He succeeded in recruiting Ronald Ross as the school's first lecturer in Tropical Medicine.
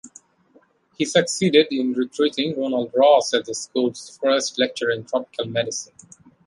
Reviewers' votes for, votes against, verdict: 2, 0, accepted